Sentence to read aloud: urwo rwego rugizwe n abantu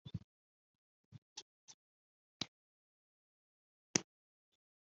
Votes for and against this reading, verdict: 0, 3, rejected